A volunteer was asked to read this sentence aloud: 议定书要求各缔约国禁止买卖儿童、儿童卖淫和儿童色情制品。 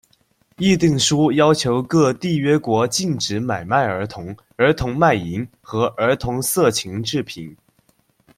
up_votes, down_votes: 2, 0